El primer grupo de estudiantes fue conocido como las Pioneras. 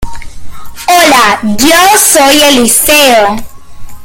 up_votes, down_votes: 0, 2